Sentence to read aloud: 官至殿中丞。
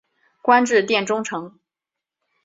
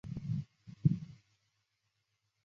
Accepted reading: first